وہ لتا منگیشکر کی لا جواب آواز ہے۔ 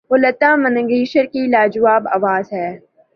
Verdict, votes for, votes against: rejected, 1, 2